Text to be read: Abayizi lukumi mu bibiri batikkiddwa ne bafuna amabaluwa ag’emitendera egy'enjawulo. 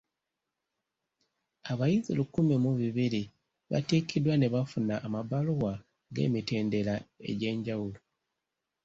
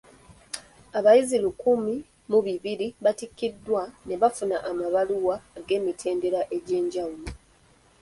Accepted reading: second